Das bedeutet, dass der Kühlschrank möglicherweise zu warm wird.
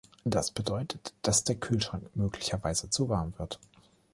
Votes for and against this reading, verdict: 2, 0, accepted